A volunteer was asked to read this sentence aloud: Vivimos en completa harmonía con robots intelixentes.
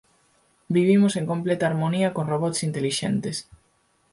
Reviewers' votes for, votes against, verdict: 4, 0, accepted